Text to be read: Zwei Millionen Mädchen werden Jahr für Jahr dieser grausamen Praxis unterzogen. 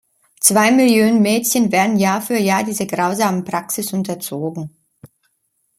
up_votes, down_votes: 0, 2